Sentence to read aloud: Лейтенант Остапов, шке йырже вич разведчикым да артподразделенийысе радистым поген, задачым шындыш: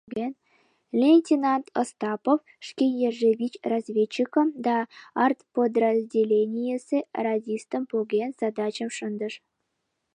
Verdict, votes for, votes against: accepted, 2, 0